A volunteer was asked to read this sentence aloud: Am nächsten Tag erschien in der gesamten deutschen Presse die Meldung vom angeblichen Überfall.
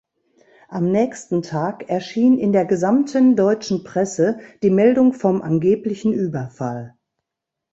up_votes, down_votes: 2, 0